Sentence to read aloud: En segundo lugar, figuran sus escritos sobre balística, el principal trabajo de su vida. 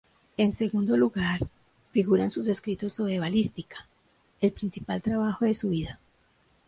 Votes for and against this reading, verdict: 2, 0, accepted